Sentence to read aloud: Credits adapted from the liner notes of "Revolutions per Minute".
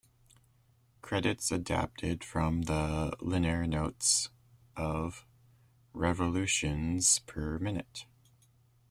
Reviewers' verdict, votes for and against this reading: rejected, 0, 2